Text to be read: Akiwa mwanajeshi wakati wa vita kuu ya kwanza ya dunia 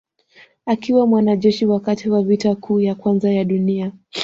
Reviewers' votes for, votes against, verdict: 2, 0, accepted